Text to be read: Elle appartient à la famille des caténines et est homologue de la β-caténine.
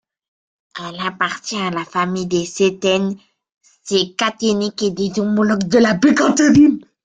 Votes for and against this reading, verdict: 0, 2, rejected